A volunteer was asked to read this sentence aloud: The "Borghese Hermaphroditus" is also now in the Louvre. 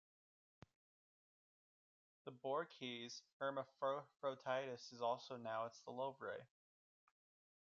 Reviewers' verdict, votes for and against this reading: rejected, 1, 2